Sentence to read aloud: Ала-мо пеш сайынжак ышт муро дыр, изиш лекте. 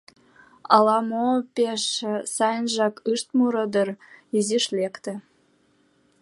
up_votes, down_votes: 2, 0